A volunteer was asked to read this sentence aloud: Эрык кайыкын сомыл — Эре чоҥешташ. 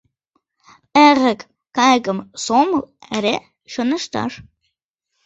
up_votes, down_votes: 0, 2